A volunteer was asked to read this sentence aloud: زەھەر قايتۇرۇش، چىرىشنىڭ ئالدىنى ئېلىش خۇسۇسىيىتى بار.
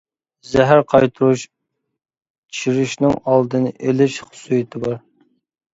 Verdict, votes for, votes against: accepted, 2, 0